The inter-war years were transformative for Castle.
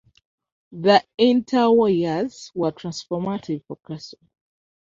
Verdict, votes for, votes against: rejected, 0, 2